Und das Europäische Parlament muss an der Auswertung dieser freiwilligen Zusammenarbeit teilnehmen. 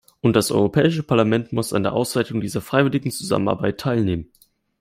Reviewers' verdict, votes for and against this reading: accepted, 2, 1